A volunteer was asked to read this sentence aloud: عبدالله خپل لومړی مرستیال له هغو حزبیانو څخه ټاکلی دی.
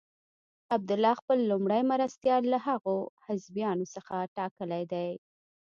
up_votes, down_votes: 1, 2